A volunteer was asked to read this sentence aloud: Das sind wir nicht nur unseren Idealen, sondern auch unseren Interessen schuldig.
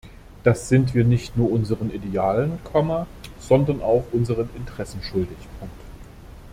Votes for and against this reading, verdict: 0, 2, rejected